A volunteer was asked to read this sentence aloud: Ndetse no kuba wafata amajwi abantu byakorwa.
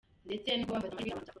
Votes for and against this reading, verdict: 0, 2, rejected